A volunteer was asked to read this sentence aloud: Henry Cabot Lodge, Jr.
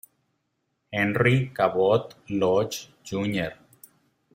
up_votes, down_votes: 0, 2